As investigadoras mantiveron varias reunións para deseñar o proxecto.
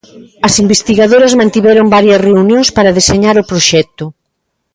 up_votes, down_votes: 1, 2